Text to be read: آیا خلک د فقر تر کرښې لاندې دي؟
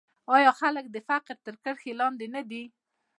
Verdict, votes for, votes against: accepted, 2, 0